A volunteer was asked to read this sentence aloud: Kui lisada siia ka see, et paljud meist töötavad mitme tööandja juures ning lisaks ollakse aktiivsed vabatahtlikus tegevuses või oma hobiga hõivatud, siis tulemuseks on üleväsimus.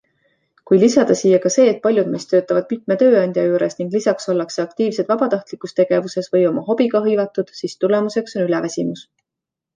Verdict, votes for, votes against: accepted, 2, 0